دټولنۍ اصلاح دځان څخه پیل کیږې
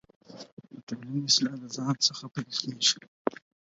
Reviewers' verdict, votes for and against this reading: rejected, 0, 4